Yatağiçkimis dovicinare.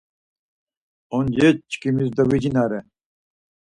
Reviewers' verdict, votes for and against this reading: rejected, 0, 4